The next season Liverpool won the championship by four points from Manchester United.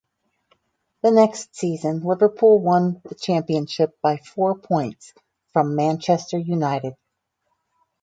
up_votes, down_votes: 2, 2